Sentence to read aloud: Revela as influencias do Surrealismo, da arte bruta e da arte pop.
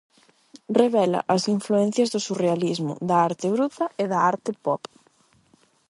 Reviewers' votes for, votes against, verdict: 4, 4, rejected